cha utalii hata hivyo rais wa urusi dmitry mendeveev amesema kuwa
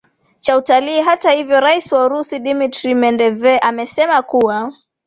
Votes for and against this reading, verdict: 2, 0, accepted